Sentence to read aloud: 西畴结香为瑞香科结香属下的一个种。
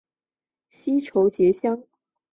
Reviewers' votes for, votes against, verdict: 4, 5, rejected